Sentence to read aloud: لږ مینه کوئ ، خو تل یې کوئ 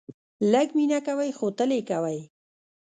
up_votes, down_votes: 2, 1